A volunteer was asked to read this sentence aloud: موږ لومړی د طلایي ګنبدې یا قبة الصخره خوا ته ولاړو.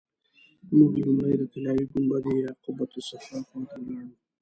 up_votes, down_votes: 0, 2